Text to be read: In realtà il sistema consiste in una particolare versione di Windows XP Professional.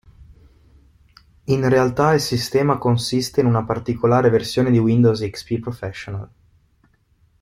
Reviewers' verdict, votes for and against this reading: accepted, 2, 0